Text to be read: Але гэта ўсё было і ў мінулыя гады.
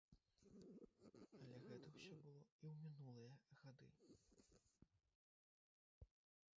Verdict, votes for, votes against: rejected, 0, 3